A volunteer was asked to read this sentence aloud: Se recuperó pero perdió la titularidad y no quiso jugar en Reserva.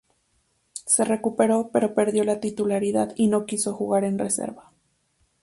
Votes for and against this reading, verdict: 2, 2, rejected